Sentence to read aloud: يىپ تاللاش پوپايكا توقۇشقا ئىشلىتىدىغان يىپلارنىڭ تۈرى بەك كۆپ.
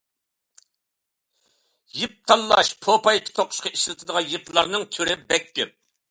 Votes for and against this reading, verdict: 2, 0, accepted